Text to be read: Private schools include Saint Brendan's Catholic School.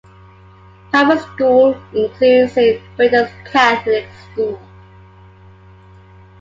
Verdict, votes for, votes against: accepted, 2, 1